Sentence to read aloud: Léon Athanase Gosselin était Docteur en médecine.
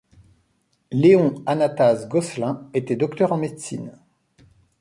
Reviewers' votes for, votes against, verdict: 0, 2, rejected